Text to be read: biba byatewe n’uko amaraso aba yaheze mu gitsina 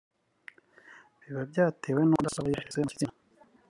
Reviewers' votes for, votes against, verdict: 0, 2, rejected